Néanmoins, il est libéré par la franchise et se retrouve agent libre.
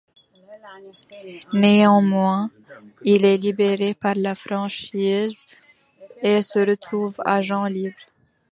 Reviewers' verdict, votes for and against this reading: accepted, 2, 0